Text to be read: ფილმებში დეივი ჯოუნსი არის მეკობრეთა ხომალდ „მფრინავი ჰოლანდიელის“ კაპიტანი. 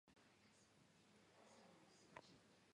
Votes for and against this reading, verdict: 1, 2, rejected